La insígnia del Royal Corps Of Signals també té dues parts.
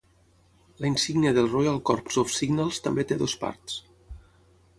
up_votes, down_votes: 6, 0